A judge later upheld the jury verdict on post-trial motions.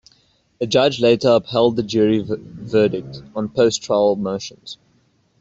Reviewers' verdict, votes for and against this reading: rejected, 1, 2